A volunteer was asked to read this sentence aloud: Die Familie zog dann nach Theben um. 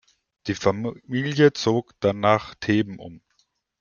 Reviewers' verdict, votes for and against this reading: rejected, 1, 2